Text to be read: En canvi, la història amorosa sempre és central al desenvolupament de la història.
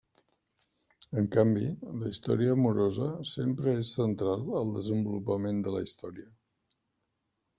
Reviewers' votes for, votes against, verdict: 0, 2, rejected